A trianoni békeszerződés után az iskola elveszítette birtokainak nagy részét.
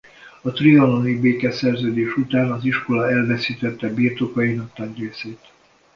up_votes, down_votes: 2, 0